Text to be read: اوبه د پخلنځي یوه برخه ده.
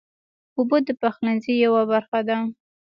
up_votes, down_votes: 2, 1